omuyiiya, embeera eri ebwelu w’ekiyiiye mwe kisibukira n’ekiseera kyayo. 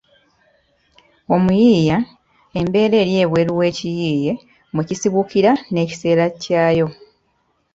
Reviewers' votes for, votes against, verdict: 2, 0, accepted